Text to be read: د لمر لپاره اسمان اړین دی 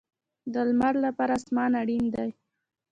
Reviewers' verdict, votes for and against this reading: rejected, 1, 2